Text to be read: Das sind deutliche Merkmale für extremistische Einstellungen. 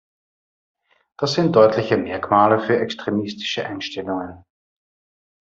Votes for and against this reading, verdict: 2, 0, accepted